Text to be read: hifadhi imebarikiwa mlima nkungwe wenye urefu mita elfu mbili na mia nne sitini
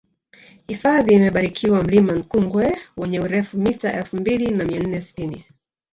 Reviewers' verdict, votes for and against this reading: rejected, 0, 3